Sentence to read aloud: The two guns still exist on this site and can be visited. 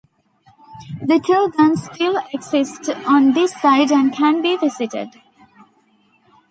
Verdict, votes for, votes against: accepted, 3, 1